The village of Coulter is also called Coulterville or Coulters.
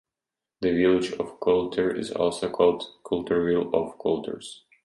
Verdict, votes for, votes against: accepted, 2, 0